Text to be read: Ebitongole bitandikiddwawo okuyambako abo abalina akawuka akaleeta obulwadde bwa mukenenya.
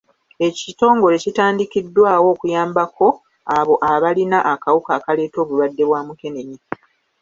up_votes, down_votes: 2, 1